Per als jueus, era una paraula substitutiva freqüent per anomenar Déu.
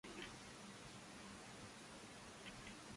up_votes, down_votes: 0, 2